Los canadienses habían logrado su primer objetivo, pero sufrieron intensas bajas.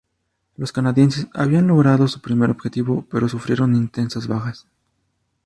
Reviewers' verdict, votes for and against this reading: accepted, 2, 0